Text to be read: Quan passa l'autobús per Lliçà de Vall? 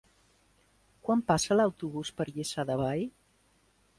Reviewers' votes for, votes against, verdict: 2, 0, accepted